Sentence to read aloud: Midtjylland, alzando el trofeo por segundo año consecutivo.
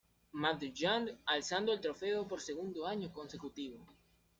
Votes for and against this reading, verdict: 0, 2, rejected